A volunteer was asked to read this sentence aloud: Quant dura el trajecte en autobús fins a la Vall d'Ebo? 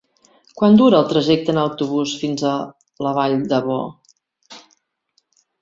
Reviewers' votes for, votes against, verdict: 0, 2, rejected